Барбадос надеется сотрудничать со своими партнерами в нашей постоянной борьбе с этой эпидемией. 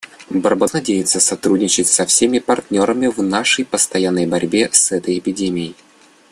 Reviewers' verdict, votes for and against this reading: rejected, 0, 2